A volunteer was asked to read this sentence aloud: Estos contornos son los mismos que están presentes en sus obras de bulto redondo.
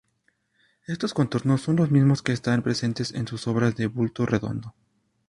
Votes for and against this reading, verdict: 2, 0, accepted